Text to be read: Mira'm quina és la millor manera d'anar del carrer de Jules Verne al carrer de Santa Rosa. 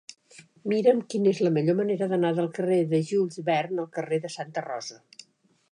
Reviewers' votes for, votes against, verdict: 2, 1, accepted